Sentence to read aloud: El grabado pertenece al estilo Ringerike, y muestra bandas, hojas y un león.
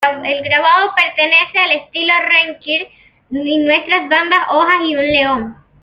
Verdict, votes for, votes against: rejected, 1, 2